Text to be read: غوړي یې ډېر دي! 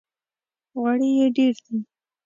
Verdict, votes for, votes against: accepted, 2, 0